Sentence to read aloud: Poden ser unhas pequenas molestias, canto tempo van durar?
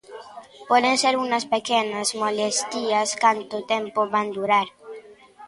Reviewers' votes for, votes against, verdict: 0, 2, rejected